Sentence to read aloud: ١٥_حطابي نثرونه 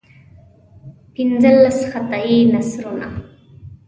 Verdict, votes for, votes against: rejected, 0, 2